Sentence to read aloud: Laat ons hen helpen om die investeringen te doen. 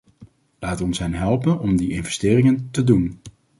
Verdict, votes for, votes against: accepted, 2, 0